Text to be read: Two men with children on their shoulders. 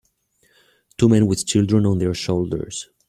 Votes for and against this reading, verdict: 2, 0, accepted